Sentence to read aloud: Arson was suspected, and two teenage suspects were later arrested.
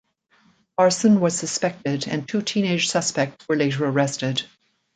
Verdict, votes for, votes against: rejected, 1, 2